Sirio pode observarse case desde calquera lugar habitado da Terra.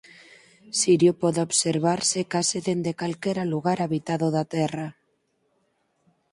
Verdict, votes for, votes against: rejected, 2, 4